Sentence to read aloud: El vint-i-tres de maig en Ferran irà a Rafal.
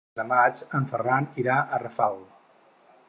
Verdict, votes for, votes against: rejected, 0, 4